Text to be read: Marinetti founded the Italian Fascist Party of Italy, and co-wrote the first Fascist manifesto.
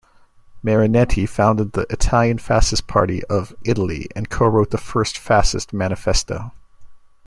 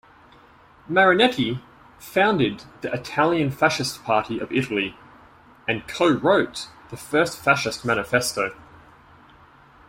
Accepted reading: second